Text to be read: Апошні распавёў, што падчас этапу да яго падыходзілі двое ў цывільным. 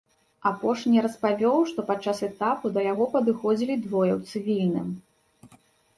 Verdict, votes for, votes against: accepted, 3, 0